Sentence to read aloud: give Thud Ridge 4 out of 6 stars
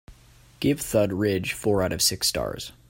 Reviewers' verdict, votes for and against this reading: rejected, 0, 2